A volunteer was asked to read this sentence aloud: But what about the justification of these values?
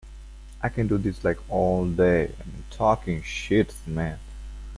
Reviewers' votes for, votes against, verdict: 0, 2, rejected